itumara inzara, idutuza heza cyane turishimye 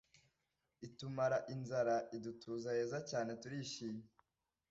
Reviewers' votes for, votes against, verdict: 2, 0, accepted